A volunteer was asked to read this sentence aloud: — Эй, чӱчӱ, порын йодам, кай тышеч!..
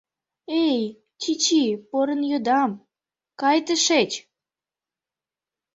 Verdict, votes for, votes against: accepted, 2, 0